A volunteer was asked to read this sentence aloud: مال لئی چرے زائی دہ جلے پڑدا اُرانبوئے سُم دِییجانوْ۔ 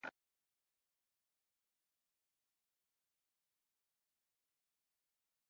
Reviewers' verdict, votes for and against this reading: rejected, 0, 2